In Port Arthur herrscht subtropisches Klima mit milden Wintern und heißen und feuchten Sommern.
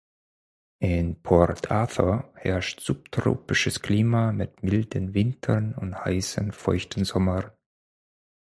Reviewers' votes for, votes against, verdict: 0, 4, rejected